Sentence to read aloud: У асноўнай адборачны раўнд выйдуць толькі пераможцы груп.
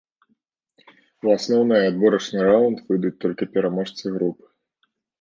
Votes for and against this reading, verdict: 2, 0, accepted